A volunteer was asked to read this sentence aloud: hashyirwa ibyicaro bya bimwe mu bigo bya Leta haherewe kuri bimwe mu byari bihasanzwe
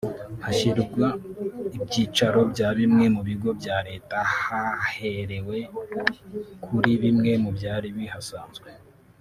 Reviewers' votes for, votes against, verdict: 1, 2, rejected